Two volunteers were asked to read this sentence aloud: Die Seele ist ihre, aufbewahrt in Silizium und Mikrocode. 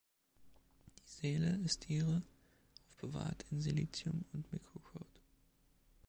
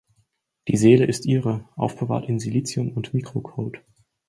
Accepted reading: second